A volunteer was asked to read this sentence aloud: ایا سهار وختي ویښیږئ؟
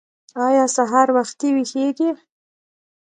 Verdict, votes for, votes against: accepted, 2, 0